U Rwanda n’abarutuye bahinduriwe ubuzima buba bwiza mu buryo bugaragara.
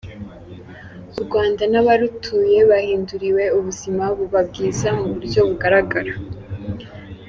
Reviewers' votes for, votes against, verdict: 2, 0, accepted